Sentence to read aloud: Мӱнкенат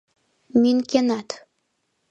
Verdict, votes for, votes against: accepted, 2, 0